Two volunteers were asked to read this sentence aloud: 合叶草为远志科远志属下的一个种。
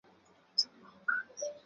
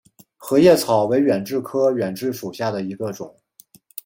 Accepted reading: second